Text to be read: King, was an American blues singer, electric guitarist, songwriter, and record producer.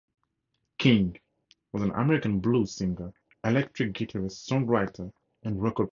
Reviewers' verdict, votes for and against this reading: rejected, 2, 4